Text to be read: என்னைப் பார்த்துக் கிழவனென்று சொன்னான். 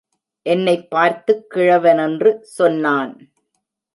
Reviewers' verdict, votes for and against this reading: accepted, 2, 0